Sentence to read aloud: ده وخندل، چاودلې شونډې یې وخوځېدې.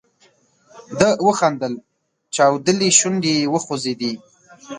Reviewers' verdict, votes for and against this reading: accepted, 2, 0